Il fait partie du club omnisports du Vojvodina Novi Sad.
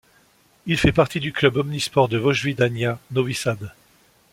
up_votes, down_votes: 1, 2